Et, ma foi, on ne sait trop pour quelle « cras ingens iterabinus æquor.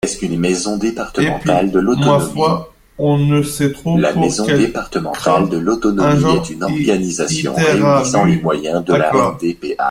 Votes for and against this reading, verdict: 0, 2, rejected